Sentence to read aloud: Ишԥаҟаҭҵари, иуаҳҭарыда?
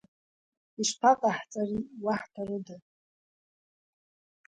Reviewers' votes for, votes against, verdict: 0, 2, rejected